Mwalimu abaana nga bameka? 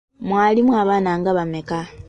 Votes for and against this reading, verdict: 2, 0, accepted